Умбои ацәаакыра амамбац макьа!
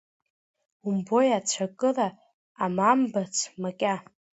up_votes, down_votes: 0, 2